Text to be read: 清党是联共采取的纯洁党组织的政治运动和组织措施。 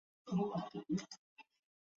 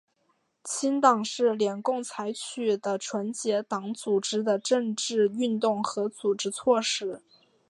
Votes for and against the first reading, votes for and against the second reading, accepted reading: 0, 2, 2, 0, second